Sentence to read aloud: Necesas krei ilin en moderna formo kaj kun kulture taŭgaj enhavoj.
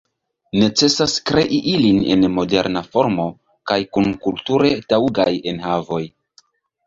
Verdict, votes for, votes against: accepted, 2, 0